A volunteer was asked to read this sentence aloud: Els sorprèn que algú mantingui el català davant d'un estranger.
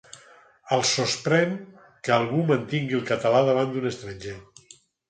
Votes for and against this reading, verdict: 2, 4, rejected